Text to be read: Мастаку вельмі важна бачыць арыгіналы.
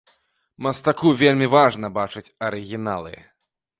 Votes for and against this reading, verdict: 2, 0, accepted